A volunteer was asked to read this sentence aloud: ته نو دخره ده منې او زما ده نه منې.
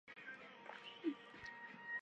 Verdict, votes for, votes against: rejected, 0, 2